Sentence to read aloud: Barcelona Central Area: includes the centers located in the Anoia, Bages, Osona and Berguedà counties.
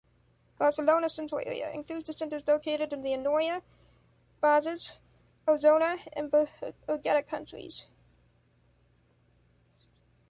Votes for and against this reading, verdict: 0, 2, rejected